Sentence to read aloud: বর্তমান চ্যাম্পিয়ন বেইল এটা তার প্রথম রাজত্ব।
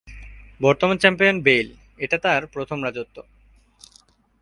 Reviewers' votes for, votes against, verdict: 2, 1, accepted